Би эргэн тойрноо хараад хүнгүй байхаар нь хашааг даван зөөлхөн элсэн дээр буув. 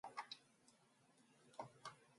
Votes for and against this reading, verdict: 0, 2, rejected